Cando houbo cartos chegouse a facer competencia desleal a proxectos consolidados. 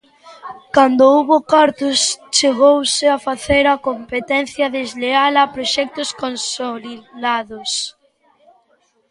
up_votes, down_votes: 1, 2